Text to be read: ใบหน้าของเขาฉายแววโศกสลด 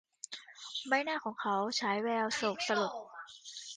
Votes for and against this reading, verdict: 1, 2, rejected